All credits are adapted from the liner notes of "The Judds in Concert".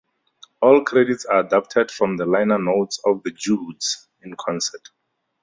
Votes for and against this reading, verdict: 4, 0, accepted